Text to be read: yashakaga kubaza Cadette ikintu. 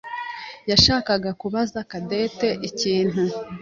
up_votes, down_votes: 2, 0